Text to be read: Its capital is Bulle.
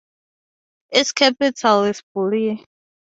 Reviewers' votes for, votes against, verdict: 4, 0, accepted